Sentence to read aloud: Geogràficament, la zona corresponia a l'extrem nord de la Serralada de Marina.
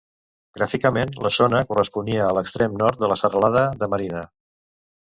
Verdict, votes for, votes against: rejected, 1, 2